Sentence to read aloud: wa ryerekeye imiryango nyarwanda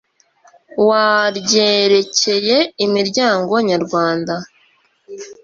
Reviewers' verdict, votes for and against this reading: accepted, 2, 0